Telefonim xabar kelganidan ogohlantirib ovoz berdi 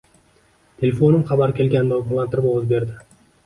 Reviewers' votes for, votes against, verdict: 2, 0, accepted